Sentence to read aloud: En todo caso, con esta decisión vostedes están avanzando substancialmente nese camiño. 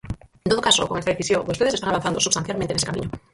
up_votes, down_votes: 0, 4